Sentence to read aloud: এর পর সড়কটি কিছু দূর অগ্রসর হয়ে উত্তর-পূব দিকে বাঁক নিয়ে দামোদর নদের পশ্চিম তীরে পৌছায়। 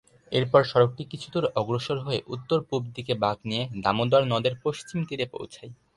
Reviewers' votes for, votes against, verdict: 2, 2, rejected